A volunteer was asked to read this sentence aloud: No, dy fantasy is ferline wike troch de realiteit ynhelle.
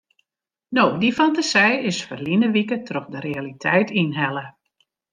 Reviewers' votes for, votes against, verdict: 1, 2, rejected